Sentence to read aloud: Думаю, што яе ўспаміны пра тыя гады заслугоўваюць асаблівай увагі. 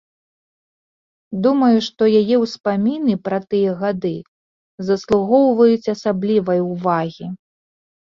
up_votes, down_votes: 2, 0